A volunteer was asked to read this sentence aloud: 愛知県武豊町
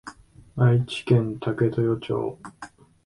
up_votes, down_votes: 2, 0